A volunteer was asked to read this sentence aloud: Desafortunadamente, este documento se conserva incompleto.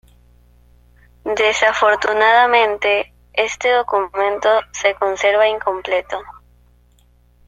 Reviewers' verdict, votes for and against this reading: accepted, 2, 0